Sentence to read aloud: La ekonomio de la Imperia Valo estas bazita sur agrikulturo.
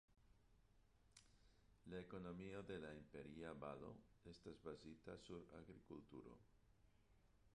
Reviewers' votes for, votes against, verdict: 2, 1, accepted